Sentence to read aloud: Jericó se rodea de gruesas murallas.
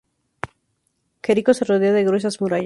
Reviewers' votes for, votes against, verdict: 0, 2, rejected